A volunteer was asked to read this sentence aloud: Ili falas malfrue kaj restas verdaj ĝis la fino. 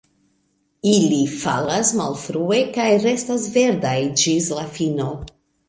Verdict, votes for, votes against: accepted, 2, 0